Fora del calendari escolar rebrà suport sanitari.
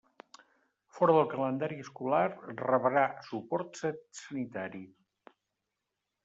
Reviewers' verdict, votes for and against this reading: rejected, 1, 2